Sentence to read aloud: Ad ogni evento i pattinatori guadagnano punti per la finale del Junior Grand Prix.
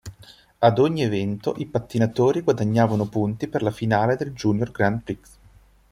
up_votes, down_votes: 2, 1